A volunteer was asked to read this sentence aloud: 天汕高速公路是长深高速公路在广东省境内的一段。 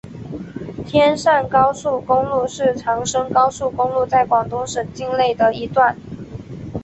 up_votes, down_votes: 3, 1